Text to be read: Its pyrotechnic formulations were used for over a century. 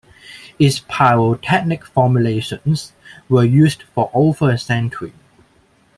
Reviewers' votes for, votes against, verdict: 2, 0, accepted